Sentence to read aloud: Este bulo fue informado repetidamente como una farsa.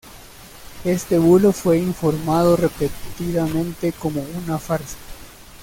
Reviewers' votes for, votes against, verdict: 1, 2, rejected